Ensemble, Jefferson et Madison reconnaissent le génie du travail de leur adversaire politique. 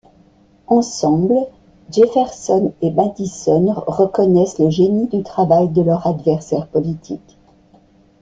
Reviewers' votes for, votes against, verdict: 2, 0, accepted